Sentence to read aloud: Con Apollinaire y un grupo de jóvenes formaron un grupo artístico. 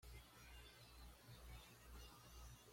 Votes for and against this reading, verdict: 1, 2, rejected